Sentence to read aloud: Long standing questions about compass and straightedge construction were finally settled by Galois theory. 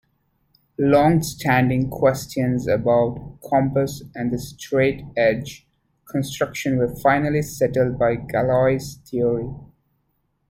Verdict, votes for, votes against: rejected, 0, 2